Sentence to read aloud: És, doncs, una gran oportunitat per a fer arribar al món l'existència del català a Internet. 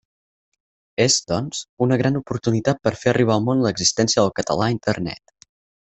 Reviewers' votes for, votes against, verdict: 4, 0, accepted